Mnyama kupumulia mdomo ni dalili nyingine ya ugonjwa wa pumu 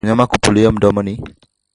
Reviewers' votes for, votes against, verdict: 0, 2, rejected